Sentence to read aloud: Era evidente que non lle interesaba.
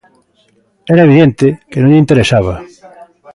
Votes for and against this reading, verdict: 2, 0, accepted